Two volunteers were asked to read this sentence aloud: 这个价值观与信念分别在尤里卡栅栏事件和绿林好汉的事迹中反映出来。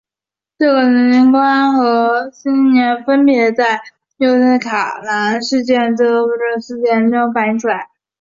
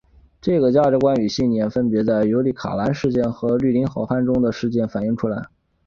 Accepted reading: second